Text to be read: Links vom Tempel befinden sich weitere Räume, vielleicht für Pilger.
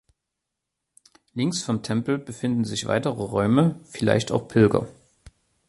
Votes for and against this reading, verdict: 0, 2, rejected